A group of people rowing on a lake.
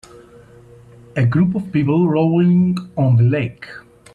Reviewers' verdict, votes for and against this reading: rejected, 0, 2